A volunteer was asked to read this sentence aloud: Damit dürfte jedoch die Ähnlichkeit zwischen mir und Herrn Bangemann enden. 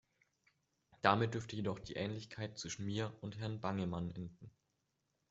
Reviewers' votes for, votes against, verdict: 2, 1, accepted